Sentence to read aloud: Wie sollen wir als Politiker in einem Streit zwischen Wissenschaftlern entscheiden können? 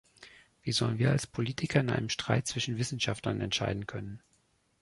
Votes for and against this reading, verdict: 3, 0, accepted